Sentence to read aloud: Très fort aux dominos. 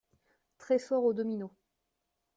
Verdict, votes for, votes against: rejected, 1, 2